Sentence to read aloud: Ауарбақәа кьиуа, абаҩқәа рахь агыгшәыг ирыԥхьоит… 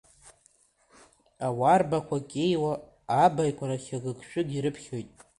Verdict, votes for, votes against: rejected, 1, 2